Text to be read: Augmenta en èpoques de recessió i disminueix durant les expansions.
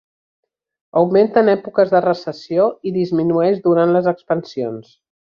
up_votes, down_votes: 3, 0